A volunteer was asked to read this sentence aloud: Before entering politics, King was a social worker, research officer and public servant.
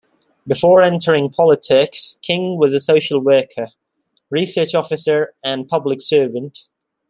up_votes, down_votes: 2, 0